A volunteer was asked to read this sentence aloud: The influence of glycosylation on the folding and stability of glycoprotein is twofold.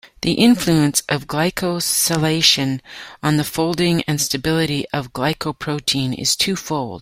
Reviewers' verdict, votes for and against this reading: accepted, 2, 1